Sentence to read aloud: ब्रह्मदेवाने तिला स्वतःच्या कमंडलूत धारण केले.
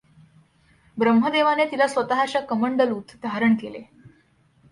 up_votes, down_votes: 2, 0